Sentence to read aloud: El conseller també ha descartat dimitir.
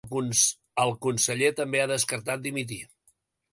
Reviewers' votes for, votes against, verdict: 1, 2, rejected